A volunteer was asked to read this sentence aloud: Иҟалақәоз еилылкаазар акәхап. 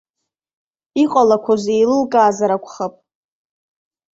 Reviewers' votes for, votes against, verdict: 2, 0, accepted